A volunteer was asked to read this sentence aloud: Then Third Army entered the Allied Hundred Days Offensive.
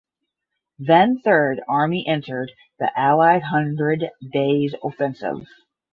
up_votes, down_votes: 10, 0